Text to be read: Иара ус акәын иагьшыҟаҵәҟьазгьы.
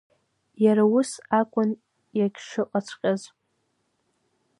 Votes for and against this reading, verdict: 1, 2, rejected